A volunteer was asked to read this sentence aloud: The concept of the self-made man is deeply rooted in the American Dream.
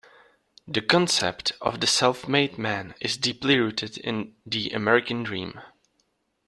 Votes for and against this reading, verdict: 2, 0, accepted